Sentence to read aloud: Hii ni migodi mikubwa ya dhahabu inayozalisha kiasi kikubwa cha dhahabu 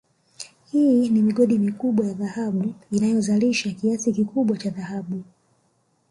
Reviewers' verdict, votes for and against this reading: accepted, 2, 1